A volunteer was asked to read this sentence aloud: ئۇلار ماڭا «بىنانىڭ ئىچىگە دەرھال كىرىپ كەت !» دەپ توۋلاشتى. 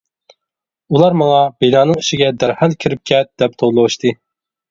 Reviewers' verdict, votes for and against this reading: rejected, 0, 2